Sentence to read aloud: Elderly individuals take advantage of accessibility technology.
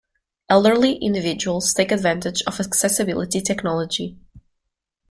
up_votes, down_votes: 2, 1